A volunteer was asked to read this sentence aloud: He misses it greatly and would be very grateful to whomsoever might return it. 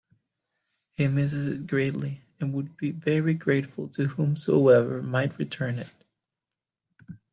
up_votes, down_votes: 2, 0